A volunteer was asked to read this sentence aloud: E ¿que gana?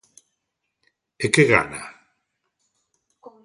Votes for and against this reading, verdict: 2, 0, accepted